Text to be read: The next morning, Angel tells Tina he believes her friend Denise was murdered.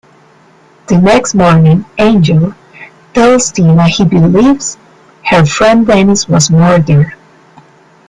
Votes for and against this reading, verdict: 2, 0, accepted